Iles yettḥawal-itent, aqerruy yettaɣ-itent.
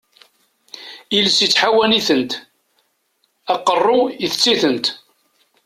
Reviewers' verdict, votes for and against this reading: rejected, 1, 2